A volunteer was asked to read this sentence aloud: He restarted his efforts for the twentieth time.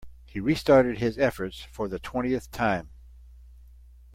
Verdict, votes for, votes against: accepted, 2, 0